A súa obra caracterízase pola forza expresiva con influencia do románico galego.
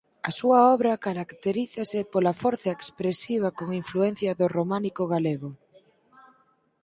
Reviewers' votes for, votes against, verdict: 4, 0, accepted